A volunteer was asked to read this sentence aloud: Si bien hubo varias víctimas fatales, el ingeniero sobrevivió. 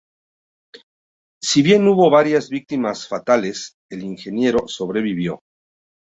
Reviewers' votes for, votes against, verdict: 2, 0, accepted